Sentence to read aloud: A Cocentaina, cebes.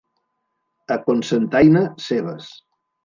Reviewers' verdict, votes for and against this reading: rejected, 1, 2